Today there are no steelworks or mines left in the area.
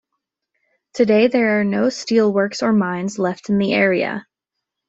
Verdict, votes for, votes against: accepted, 2, 0